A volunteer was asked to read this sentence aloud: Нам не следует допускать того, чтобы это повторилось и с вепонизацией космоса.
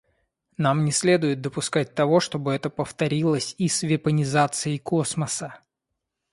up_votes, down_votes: 2, 0